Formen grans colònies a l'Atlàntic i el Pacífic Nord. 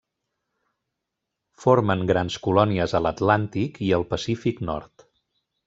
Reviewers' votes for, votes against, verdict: 3, 0, accepted